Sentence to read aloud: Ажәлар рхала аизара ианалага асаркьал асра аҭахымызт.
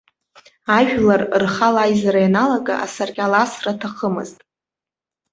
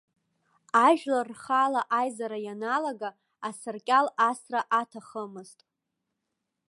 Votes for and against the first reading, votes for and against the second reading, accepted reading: 2, 0, 1, 2, first